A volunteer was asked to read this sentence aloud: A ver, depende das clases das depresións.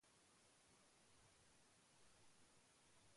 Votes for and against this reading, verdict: 0, 2, rejected